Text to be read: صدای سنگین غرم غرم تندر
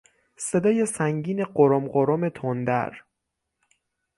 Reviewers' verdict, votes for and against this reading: accepted, 9, 0